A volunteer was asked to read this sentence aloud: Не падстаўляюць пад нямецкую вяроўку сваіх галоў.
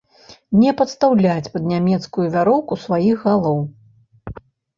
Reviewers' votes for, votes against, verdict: 1, 3, rejected